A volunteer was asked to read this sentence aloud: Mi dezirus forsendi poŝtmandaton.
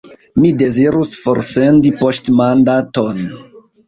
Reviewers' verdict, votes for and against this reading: rejected, 1, 2